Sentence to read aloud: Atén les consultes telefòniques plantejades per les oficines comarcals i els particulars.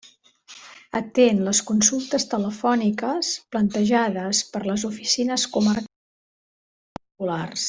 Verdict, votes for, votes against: rejected, 0, 2